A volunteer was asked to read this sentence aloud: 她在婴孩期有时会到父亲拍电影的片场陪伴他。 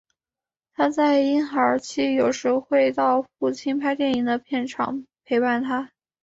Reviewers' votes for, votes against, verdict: 2, 0, accepted